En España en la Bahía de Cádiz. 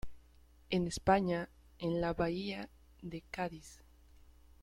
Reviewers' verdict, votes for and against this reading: rejected, 0, 2